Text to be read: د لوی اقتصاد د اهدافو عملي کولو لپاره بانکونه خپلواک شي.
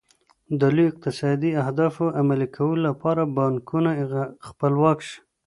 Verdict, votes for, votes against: accepted, 2, 0